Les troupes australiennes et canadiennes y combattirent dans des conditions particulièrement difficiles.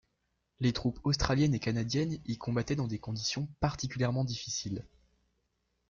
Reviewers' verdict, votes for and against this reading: rejected, 1, 2